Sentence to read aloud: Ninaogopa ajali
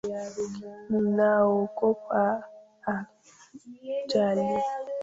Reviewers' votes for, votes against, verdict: 0, 2, rejected